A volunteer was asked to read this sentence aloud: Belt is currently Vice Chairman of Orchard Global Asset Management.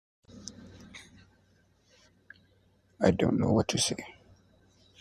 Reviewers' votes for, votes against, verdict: 1, 2, rejected